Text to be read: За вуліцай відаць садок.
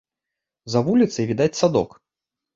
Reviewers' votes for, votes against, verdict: 2, 0, accepted